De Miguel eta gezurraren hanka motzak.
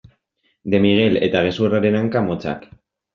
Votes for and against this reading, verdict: 1, 2, rejected